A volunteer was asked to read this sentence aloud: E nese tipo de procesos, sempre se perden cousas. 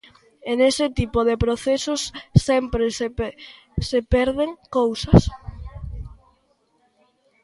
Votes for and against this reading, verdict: 1, 2, rejected